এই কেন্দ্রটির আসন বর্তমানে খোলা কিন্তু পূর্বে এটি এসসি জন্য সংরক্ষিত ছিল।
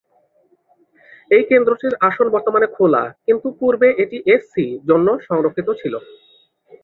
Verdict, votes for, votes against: accepted, 2, 0